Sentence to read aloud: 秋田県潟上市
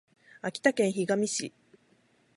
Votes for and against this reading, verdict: 12, 2, accepted